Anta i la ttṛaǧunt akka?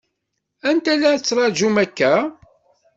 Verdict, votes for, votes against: rejected, 1, 2